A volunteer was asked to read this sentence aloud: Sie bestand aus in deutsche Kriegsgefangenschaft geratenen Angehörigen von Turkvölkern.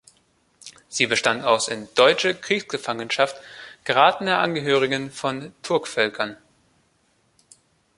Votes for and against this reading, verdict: 1, 2, rejected